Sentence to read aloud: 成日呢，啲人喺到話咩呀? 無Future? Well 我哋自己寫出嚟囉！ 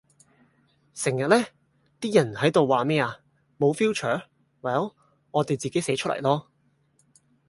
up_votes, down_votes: 4, 0